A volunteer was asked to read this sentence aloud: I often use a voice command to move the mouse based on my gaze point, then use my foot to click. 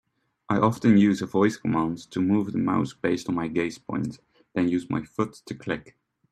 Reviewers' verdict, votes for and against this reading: rejected, 1, 2